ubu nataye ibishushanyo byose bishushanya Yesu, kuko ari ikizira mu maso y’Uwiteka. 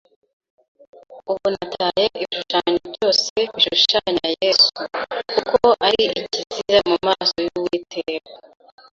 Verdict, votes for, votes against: rejected, 0, 2